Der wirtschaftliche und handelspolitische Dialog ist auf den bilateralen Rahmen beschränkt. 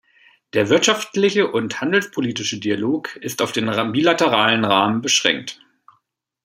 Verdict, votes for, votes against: rejected, 1, 2